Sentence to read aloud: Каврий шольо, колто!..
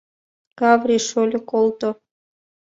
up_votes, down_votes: 2, 1